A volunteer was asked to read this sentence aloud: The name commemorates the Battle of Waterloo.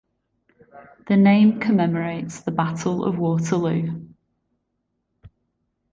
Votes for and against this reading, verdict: 2, 0, accepted